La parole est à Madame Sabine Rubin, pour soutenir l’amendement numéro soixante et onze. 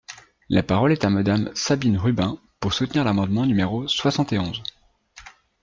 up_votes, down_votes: 2, 0